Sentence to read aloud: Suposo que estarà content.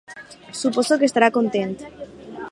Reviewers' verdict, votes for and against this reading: accepted, 4, 0